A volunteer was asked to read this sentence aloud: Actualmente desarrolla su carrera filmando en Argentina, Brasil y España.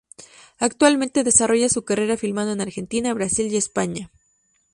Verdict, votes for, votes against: accepted, 4, 0